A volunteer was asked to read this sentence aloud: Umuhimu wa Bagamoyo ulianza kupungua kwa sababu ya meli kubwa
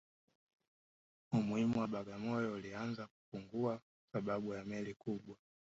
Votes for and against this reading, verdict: 2, 0, accepted